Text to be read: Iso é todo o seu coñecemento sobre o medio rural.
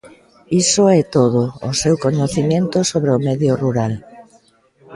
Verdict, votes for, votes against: accepted, 2, 0